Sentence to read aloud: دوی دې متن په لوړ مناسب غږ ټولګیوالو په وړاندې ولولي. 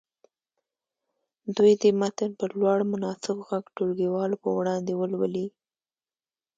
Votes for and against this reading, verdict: 1, 2, rejected